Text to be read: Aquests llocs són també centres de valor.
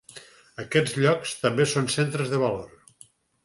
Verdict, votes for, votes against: rejected, 0, 4